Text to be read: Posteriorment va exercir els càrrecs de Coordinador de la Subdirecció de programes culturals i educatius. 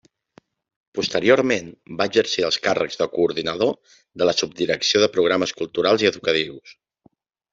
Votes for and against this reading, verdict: 1, 2, rejected